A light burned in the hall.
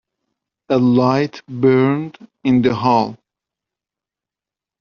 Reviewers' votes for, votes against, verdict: 2, 0, accepted